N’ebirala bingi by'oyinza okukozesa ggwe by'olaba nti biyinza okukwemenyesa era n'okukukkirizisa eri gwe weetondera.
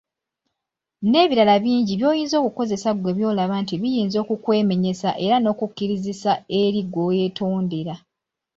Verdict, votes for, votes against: accepted, 3, 0